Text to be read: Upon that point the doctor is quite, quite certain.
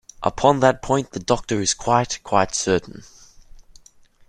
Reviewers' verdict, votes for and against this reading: accepted, 2, 0